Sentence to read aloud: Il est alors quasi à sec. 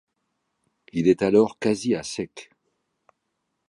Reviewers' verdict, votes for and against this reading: accepted, 2, 0